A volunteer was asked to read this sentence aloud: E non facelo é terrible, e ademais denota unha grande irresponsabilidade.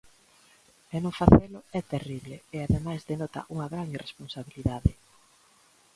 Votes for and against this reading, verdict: 2, 1, accepted